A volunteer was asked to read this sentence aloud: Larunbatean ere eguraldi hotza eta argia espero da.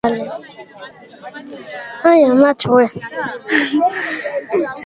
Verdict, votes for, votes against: rejected, 0, 2